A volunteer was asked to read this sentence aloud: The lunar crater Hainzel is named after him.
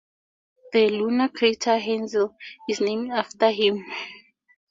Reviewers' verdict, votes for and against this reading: accepted, 2, 0